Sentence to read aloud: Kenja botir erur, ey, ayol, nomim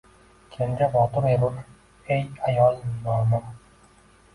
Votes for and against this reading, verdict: 1, 2, rejected